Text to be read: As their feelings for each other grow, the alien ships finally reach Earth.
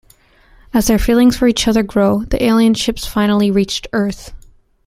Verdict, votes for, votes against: rejected, 0, 2